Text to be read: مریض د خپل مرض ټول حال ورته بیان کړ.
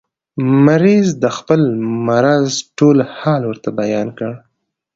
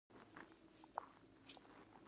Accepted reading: first